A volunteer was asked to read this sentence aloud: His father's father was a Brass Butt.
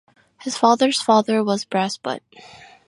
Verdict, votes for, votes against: accepted, 2, 0